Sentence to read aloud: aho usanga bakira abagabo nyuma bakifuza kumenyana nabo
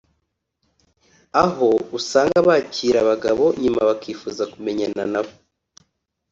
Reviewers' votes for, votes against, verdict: 2, 0, accepted